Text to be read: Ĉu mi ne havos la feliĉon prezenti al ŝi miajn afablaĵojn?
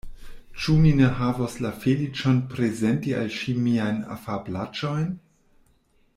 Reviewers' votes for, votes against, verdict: 1, 2, rejected